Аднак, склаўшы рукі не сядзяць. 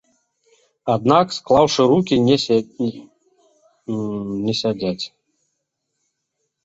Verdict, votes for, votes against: rejected, 0, 2